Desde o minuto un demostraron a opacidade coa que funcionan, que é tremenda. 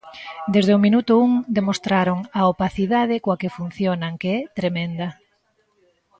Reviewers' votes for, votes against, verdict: 2, 1, accepted